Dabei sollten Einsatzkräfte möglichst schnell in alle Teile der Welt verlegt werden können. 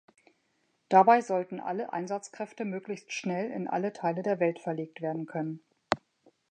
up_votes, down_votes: 1, 2